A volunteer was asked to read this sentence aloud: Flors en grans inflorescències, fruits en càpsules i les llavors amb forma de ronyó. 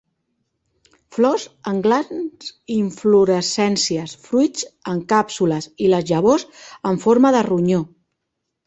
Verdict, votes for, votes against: rejected, 1, 2